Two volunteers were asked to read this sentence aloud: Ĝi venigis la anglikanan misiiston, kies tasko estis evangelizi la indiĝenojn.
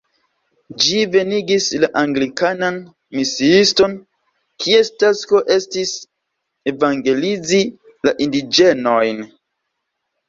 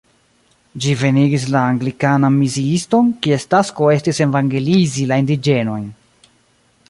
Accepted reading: first